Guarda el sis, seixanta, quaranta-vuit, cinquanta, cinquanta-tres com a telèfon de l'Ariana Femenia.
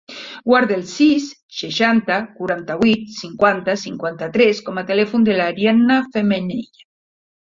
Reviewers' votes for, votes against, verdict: 2, 0, accepted